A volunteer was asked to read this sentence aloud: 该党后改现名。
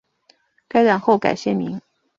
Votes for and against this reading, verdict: 3, 0, accepted